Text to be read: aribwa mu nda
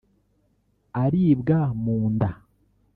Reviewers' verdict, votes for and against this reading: rejected, 1, 2